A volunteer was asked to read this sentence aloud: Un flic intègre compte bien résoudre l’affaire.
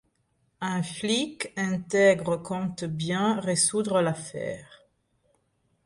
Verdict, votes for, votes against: rejected, 0, 2